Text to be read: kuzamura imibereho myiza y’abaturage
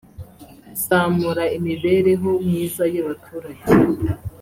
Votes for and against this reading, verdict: 1, 2, rejected